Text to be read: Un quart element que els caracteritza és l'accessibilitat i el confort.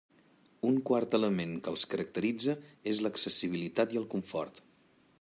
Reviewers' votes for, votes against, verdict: 3, 0, accepted